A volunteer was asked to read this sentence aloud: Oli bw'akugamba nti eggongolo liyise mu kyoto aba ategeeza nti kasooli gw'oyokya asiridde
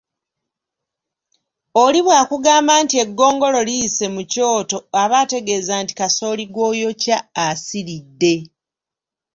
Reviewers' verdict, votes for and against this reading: accepted, 2, 0